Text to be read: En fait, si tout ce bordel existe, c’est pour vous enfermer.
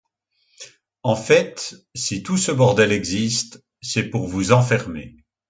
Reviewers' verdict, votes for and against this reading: accepted, 2, 0